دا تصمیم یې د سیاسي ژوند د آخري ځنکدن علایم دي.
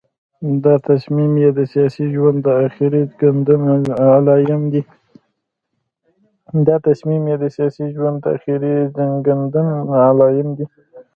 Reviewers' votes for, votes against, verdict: 0, 2, rejected